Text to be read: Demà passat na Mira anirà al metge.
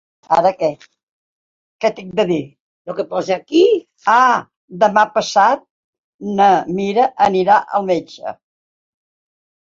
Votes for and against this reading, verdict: 0, 4, rejected